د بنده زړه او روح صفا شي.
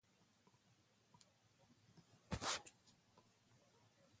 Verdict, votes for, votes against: rejected, 1, 2